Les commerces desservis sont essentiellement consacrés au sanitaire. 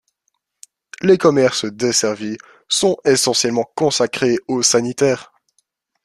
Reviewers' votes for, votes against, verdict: 1, 2, rejected